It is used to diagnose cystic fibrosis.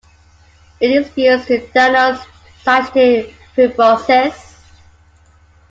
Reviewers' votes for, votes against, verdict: 0, 2, rejected